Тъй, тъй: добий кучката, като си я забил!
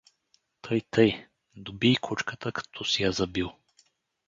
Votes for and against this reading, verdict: 2, 2, rejected